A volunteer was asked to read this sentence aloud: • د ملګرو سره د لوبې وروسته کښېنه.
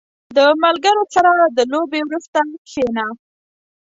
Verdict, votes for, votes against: accepted, 2, 0